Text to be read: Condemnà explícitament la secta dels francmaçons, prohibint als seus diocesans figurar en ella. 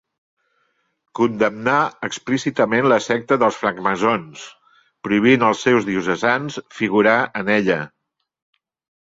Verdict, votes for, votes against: accepted, 2, 1